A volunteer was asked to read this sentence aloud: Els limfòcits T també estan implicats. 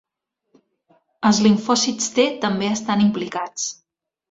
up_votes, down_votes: 2, 0